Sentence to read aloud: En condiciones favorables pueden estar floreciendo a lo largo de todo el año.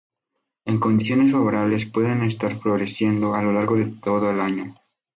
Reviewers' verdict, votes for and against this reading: rejected, 2, 2